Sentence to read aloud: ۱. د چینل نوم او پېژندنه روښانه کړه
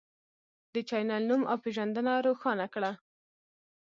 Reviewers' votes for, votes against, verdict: 0, 2, rejected